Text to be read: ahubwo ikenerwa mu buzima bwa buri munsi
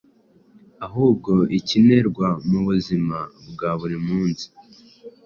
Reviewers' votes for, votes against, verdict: 2, 0, accepted